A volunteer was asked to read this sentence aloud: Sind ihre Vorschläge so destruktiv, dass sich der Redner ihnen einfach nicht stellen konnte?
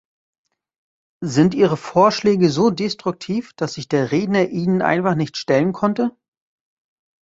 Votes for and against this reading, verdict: 2, 0, accepted